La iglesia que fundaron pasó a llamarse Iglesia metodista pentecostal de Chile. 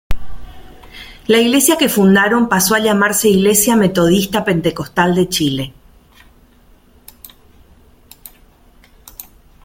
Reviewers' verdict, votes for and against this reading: rejected, 0, 2